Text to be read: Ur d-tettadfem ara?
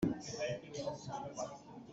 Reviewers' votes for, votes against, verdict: 1, 2, rejected